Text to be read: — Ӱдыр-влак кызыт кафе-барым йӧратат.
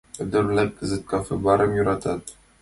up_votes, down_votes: 2, 1